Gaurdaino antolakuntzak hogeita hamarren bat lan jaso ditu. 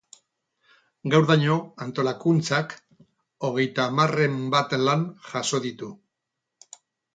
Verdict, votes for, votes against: rejected, 2, 2